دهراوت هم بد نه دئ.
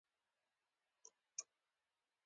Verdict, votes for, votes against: accepted, 2, 1